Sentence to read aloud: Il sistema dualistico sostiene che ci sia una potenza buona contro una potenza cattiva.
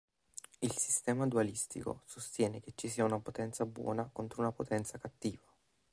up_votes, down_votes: 3, 0